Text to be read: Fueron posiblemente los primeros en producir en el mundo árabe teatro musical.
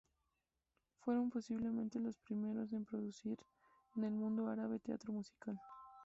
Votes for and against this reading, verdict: 0, 2, rejected